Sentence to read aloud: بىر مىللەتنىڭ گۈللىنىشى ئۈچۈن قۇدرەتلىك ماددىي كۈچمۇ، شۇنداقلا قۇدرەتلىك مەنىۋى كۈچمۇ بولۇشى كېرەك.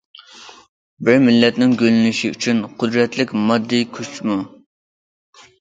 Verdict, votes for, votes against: rejected, 0, 2